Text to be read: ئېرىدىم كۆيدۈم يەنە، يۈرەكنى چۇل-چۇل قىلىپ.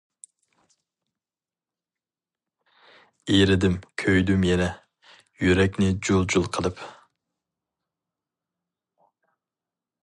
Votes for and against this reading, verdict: 0, 2, rejected